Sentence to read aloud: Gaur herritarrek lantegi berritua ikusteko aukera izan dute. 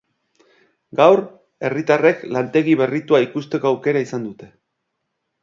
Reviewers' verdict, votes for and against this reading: accepted, 4, 0